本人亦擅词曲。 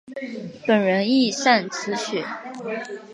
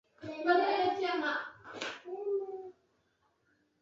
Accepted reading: first